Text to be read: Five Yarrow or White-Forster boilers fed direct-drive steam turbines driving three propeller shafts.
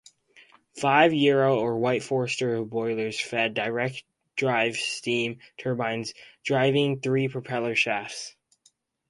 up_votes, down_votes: 4, 0